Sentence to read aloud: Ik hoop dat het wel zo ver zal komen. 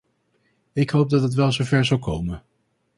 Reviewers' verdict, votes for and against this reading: accepted, 2, 0